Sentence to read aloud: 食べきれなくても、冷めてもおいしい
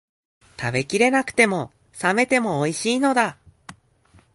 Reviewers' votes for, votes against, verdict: 0, 2, rejected